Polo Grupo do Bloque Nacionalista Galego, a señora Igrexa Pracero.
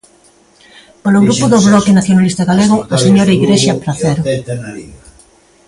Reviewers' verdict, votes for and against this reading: rejected, 0, 2